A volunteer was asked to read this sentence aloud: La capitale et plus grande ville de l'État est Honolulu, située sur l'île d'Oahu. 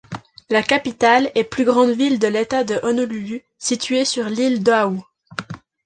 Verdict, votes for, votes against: rejected, 2, 3